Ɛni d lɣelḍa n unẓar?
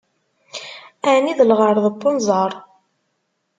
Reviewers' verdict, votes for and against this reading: rejected, 1, 2